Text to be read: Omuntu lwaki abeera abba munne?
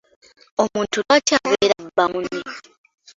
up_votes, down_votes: 1, 2